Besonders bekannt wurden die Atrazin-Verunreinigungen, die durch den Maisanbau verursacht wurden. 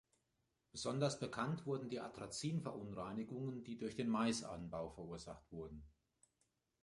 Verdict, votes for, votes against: accepted, 2, 0